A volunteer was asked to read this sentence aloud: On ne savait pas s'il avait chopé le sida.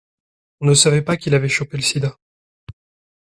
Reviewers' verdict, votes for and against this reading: rejected, 0, 2